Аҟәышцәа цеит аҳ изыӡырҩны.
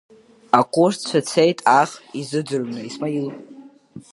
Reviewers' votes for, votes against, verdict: 0, 2, rejected